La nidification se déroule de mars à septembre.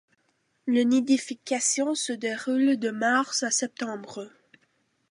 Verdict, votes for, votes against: rejected, 0, 2